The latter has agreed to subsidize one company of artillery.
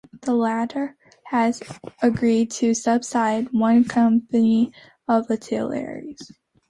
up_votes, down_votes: 0, 2